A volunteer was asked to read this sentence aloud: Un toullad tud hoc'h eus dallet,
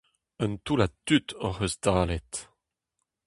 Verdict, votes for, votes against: rejected, 0, 2